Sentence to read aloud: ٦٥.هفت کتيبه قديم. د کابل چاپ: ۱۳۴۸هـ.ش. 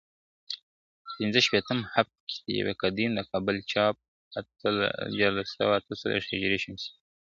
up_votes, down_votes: 0, 2